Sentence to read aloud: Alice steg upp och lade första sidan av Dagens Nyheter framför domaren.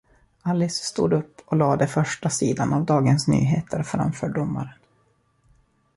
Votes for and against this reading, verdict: 1, 2, rejected